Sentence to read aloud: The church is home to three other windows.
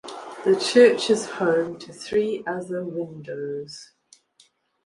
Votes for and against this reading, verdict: 2, 0, accepted